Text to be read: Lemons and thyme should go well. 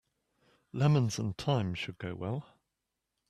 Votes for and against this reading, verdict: 2, 0, accepted